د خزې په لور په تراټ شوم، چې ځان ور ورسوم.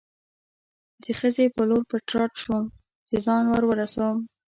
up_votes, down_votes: 0, 2